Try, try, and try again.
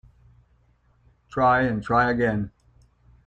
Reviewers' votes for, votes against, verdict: 1, 2, rejected